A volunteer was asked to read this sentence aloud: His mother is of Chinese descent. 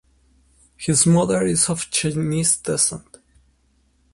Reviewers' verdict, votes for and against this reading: accepted, 2, 1